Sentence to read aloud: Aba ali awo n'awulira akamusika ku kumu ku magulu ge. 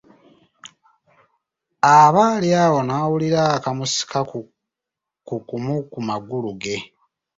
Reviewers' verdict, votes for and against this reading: rejected, 1, 2